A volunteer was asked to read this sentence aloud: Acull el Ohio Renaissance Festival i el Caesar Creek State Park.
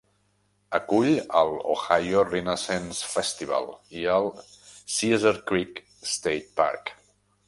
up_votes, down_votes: 0, 2